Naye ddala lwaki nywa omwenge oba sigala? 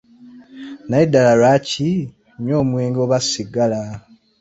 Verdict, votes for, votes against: accepted, 2, 0